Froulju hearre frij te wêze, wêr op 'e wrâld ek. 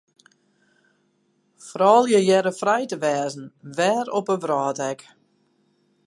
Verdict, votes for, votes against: rejected, 0, 4